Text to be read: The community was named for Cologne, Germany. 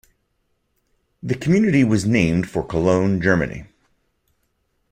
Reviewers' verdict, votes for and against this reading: accepted, 2, 0